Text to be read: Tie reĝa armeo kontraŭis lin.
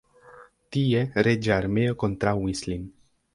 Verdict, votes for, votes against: accepted, 2, 0